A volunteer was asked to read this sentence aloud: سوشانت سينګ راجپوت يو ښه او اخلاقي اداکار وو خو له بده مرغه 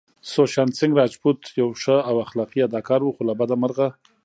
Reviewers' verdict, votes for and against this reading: accepted, 2, 0